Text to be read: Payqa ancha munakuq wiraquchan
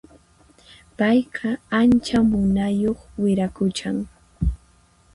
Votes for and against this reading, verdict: 2, 4, rejected